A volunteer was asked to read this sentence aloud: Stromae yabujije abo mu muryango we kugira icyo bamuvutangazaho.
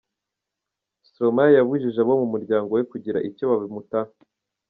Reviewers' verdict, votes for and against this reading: rejected, 0, 2